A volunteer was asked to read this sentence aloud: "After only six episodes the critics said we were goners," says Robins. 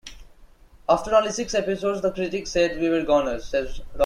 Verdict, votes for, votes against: rejected, 1, 2